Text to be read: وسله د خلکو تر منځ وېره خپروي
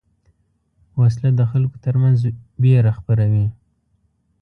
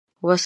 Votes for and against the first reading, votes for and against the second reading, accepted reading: 2, 0, 0, 2, first